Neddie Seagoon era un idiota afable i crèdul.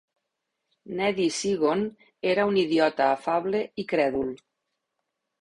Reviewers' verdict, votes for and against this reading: rejected, 1, 2